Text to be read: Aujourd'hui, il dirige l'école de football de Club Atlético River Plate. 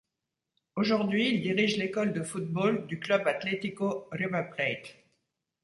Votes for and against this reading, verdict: 0, 2, rejected